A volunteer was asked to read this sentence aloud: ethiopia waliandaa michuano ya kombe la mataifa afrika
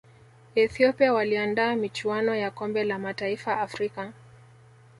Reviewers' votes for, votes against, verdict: 2, 0, accepted